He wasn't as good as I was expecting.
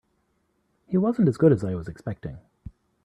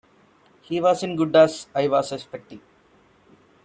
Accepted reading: first